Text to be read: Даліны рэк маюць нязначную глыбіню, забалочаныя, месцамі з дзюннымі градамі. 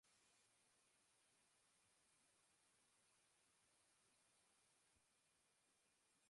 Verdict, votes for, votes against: rejected, 0, 2